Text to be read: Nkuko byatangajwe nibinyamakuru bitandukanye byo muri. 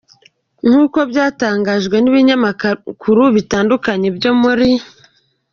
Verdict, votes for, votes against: rejected, 0, 2